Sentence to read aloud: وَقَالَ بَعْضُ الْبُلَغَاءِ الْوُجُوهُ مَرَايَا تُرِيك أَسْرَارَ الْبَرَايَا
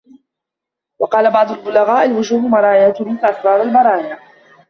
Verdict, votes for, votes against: rejected, 1, 2